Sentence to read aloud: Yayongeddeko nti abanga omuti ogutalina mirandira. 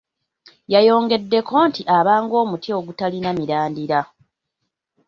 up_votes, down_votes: 2, 0